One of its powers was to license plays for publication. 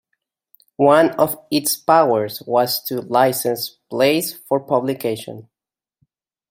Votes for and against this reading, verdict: 2, 0, accepted